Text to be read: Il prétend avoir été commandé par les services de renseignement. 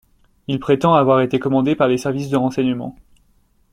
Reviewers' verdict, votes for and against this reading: accepted, 2, 0